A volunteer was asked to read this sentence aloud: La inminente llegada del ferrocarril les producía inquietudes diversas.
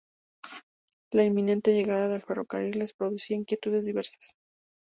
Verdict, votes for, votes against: accepted, 2, 0